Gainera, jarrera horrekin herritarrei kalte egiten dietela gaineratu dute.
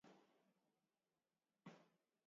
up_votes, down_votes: 0, 5